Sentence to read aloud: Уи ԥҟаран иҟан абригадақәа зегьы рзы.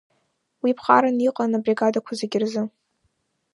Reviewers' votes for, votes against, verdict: 2, 0, accepted